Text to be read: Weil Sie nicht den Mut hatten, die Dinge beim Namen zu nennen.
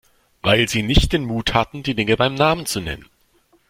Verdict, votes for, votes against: accepted, 2, 0